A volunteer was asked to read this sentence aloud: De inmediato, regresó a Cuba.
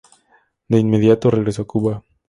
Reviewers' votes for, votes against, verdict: 2, 0, accepted